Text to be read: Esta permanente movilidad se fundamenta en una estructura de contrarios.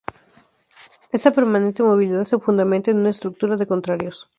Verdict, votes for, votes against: accepted, 2, 0